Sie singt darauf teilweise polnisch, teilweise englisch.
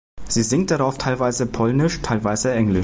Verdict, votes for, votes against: rejected, 0, 2